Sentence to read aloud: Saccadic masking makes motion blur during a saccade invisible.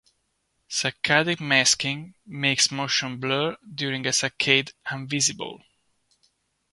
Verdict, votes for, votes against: accepted, 2, 0